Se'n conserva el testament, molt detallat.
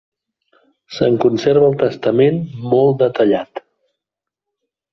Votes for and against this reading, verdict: 3, 0, accepted